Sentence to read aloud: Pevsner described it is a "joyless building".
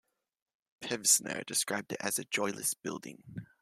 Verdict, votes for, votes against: rejected, 1, 2